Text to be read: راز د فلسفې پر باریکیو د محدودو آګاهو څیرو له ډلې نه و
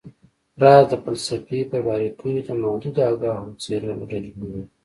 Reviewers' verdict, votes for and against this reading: accepted, 2, 0